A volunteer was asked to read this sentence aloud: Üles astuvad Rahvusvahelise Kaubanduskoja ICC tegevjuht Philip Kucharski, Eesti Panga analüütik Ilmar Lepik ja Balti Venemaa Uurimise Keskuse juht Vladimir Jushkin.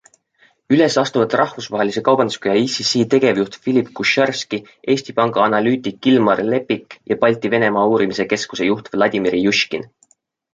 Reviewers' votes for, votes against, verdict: 2, 0, accepted